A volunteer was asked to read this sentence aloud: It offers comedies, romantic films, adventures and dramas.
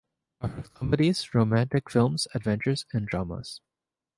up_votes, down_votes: 1, 2